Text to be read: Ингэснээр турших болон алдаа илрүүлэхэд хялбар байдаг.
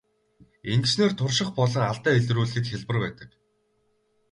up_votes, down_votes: 2, 2